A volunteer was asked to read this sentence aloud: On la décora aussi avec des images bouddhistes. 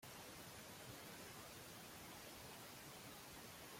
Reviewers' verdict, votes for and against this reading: rejected, 0, 2